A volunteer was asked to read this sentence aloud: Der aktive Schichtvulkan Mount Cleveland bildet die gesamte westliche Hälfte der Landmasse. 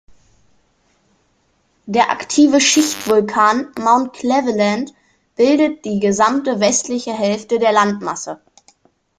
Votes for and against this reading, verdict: 1, 2, rejected